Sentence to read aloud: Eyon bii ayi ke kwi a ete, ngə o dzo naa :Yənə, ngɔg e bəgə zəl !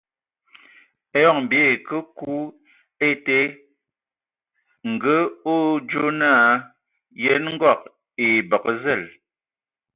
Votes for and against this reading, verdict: 1, 2, rejected